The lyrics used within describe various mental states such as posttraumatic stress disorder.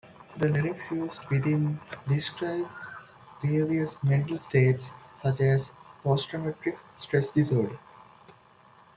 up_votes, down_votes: 1, 2